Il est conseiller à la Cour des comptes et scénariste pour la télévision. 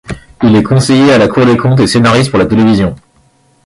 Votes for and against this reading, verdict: 0, 2, rejected